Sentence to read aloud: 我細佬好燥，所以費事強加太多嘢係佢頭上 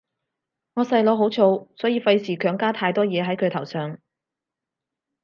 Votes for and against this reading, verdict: 2, 0, accepted